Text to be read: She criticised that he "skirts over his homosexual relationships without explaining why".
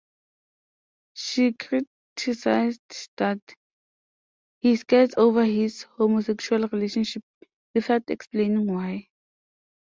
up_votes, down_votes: 0, 2